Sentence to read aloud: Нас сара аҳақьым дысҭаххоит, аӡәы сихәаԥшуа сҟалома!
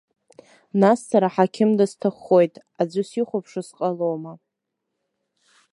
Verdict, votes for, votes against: accepted, 2, 0